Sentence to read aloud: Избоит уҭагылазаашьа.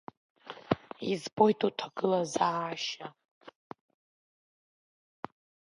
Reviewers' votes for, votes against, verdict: 3, 2, accepted